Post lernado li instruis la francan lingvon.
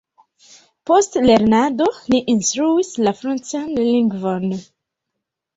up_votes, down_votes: 1, 2